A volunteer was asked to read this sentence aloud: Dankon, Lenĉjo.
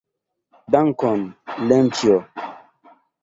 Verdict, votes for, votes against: accepted, 2, 0